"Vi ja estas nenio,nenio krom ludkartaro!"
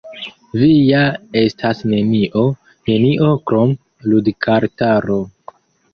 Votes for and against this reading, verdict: 2, 1, accepted